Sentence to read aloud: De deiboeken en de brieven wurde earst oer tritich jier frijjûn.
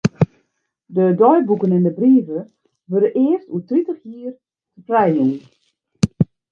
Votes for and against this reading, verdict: 0, 2, rejected